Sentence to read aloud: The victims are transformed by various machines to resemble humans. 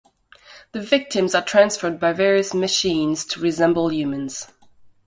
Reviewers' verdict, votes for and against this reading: accepted, 2, 1